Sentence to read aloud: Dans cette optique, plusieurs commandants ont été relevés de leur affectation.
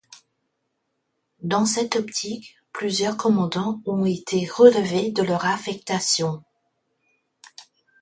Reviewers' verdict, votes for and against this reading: accepted, 2, 0